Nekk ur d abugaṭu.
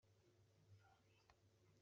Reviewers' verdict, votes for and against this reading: rejected, 1, 2